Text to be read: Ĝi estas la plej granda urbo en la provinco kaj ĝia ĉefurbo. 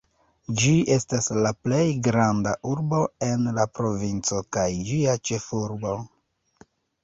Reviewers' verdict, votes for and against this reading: rejected, 0, 2